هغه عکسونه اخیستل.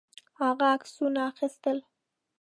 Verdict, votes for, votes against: accepted, 2, 0